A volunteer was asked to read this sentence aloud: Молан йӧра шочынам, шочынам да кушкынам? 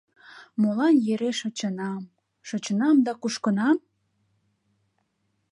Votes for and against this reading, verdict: 0, 2, rejected